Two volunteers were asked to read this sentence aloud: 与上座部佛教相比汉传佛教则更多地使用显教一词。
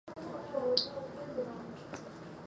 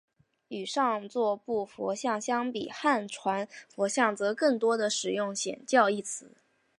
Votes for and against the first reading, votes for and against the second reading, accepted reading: 0, 3, 4, 3, second